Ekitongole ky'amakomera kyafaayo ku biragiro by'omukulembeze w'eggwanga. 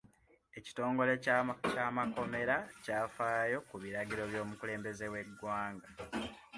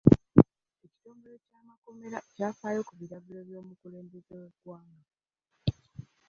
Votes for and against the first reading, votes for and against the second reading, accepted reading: 2, 0, 1, 2, first